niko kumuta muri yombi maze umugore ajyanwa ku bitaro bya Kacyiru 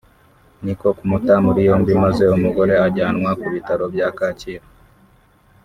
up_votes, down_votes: 2, 0